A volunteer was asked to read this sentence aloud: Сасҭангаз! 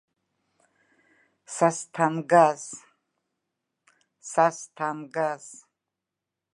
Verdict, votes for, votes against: rejected, 1, 2